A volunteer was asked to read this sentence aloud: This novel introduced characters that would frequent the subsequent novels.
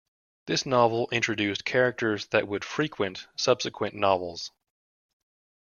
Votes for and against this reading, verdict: 1, 2, rejected